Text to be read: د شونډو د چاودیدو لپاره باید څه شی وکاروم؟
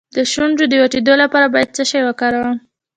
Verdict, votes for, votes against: accepted, 2, 0